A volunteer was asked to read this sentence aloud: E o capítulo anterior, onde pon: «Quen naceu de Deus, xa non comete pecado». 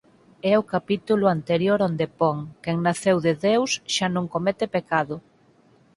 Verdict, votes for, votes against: rejected, 2, 4